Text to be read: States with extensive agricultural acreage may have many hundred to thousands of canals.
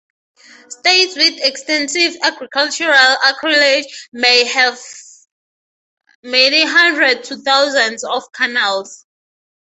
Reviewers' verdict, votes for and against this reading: accepted, 3, 0